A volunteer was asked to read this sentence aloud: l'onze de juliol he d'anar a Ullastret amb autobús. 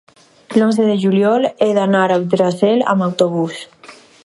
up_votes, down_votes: 2, 2